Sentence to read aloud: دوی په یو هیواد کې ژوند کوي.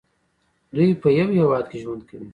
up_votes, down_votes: 0, 2